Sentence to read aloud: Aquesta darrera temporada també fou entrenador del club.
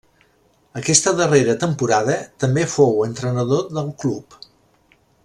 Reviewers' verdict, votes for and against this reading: rejected, 1, 2